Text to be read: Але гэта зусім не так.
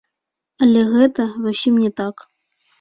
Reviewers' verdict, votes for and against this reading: accepted, 2, 1